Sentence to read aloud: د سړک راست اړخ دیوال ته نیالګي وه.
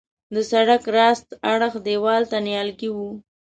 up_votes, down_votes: 2, 0